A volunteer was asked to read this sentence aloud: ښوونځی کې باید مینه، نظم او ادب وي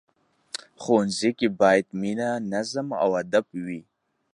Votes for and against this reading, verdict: 2, 0, accepted